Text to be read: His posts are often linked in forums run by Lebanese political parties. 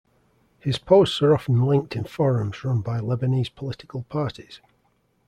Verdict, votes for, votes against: accepted, 2, 0